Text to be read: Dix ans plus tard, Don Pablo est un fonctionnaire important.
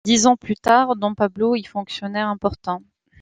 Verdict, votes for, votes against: rejected, 0, 2